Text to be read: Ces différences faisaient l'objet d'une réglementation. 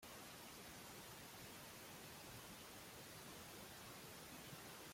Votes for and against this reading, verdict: 0, 2, rejected